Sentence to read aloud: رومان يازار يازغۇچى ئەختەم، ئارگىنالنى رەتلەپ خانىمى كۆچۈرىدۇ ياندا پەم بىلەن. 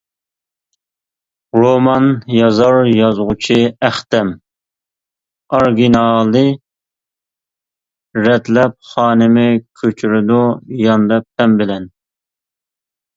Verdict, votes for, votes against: rejected, 0, 2